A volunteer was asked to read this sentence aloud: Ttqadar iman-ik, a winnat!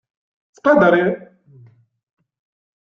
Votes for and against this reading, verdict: 0, 2, rejected